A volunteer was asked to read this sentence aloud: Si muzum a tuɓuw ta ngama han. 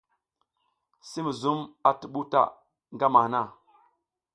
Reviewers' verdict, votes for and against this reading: accepted, 2, 0